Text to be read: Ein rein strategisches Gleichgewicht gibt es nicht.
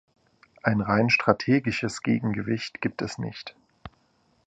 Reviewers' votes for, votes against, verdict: 0, 3, rejected